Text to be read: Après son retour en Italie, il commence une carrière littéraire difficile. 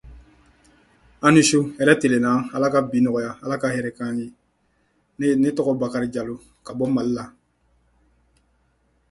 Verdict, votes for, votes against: rejected, 0, 2